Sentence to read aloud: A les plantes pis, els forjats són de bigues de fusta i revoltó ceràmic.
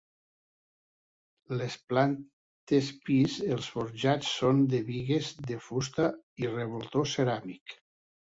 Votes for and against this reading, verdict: 1, 2, rejected